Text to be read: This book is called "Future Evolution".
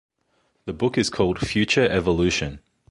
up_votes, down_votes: 0, 2